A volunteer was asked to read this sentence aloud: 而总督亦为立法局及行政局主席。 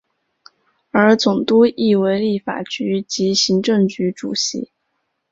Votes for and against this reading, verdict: 2, 0, accepted